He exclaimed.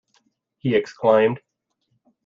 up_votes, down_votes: 2, 1